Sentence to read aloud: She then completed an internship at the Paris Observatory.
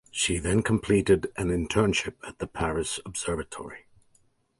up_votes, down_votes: 2, 0